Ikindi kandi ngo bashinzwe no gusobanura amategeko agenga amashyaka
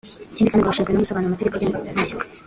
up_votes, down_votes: 1, 2